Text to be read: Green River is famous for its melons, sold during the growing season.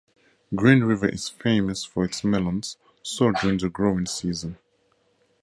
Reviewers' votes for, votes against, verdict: 2, 0, accepted